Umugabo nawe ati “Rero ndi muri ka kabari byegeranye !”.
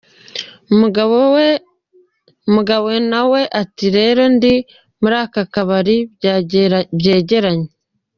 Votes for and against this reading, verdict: 0, 2, rejected